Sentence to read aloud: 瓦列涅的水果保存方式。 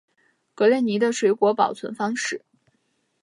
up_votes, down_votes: 0, 2